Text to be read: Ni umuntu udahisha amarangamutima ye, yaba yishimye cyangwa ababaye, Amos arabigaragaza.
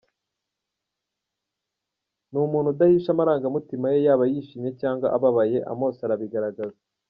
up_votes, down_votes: 2, 0